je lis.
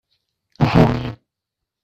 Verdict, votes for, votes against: rejected, 1, 2